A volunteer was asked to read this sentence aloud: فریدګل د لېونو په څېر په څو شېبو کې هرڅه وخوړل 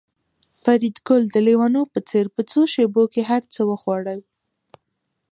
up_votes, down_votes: 2, 1